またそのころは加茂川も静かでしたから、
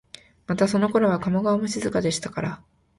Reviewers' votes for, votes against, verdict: 2, 0, accepted